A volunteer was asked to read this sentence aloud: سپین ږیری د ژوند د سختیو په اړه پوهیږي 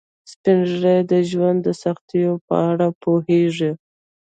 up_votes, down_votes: 2, 0